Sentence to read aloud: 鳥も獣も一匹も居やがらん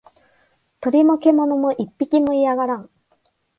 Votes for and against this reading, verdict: 2, 0, accepted